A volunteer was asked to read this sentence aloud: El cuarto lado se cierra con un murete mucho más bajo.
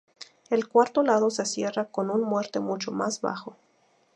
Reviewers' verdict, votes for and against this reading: rejected, 2, 2